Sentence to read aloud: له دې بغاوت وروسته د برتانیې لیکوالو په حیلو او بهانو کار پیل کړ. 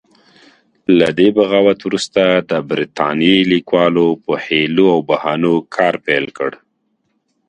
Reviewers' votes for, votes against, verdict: 2, 0, accepted